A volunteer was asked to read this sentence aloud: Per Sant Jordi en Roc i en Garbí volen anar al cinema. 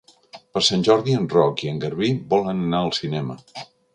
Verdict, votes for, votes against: rejected, 1, 2